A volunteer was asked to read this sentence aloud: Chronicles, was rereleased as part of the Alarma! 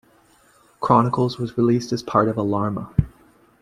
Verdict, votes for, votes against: accepted, 2, 1